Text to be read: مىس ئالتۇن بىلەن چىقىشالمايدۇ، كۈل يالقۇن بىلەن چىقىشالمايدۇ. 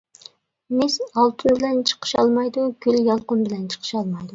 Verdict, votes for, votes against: accepted, 2, 0